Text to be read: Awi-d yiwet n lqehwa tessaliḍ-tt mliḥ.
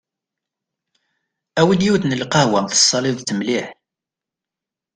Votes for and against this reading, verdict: 2, 0, accepted